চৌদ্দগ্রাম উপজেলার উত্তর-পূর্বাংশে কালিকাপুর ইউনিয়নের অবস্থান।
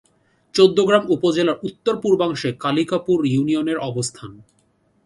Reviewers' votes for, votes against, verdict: 2, 0, accepted